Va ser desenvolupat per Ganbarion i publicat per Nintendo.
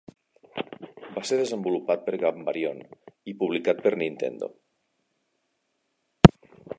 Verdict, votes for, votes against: accepted, 2, 1